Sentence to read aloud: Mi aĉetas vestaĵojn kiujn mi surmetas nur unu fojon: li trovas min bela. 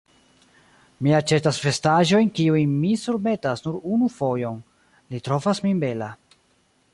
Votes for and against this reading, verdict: 1, 2, rejected